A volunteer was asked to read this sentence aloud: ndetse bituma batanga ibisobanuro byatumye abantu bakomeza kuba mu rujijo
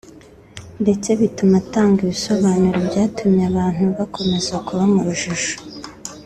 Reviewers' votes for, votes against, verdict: 2, 0, accepted